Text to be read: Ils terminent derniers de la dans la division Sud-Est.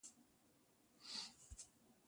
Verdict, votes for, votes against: rejected, 0, 2